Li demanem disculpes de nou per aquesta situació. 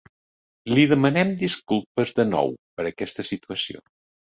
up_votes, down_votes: 2, 0